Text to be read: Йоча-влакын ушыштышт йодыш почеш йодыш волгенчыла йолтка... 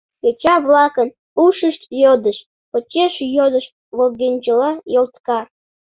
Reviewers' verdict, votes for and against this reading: rejected, 0, 2